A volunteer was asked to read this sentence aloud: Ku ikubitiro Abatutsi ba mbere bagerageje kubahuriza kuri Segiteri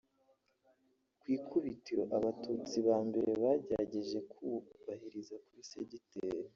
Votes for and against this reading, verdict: 0, 2, rejected